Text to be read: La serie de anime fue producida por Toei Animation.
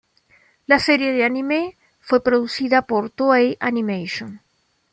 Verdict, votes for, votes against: accepted, 2, 0